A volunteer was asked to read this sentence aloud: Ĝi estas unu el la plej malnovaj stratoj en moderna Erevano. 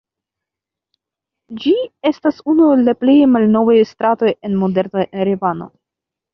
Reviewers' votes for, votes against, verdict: 3, 0, accepted